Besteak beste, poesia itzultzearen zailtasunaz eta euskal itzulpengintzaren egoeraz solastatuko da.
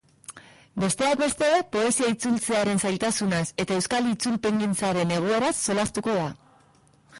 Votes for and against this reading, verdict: 0, 2, rejected